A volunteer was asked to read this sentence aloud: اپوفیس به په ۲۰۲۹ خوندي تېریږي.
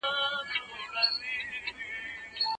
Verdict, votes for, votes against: rejected, 0, 2